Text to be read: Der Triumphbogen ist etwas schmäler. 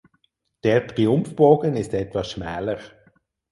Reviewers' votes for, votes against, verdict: 4, 0, accepted